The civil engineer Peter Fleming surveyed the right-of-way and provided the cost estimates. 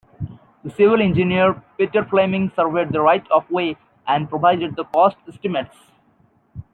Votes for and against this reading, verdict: 2, 0, accepted